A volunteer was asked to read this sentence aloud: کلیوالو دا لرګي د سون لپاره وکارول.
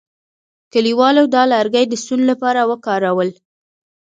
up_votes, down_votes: 1, 2